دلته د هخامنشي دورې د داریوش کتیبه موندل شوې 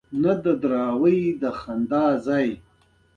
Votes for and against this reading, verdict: 2, 1, accepted